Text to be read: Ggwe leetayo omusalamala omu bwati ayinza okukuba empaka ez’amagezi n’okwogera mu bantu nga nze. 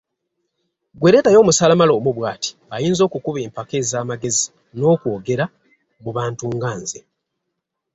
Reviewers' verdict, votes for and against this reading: accepted, 2, 0